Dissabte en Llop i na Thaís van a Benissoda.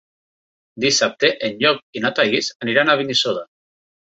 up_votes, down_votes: 1, 2